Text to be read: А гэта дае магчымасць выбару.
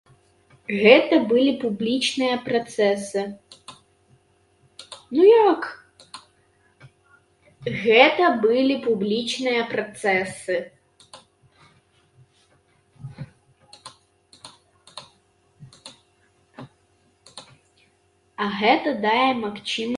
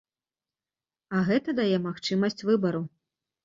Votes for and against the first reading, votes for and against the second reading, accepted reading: 0, 3, 2, 0, second